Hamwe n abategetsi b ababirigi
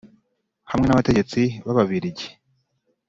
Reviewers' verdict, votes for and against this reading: accepted, 3, 0